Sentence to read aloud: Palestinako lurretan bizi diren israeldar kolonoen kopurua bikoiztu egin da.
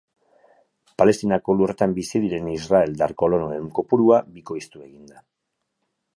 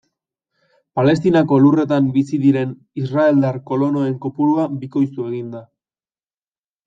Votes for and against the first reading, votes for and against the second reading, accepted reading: 2, 2, 2, 0, second